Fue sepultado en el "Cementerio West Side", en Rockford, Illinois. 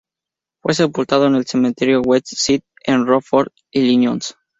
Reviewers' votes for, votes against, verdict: 0, 2, rejected